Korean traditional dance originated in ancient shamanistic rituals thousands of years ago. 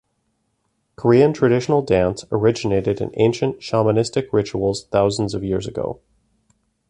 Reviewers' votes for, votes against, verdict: 2, 0, accepted